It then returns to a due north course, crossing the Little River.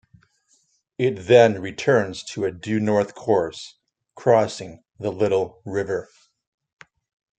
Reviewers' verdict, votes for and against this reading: accepted, 2, 0